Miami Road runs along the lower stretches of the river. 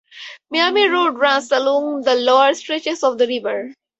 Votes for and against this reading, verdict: 4, 0, accepted